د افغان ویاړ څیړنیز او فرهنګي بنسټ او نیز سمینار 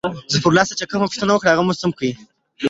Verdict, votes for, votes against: rejected, 0, 2